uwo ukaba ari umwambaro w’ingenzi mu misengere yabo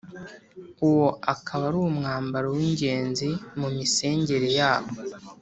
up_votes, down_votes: 2, 0